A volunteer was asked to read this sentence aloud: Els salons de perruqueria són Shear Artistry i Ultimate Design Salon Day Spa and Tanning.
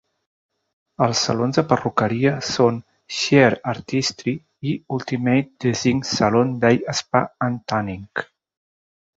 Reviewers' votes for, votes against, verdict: 2, 0, accepted